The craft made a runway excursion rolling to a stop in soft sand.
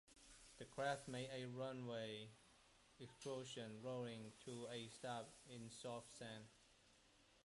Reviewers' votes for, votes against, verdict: 1, 2, rejected